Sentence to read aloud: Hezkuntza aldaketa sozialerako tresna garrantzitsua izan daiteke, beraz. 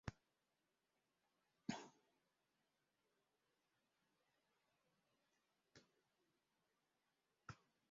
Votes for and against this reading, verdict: 0, 2, rejected